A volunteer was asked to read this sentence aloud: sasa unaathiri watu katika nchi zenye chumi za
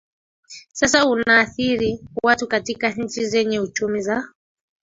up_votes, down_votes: 1, 2